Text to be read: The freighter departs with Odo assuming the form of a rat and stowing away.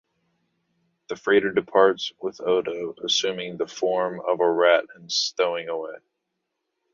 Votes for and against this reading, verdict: 2, 0, accepted